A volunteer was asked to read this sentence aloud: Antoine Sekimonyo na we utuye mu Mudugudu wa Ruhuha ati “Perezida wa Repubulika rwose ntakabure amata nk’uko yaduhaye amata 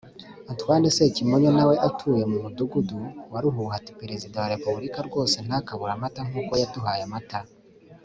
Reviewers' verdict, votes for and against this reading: accepted, 2, 0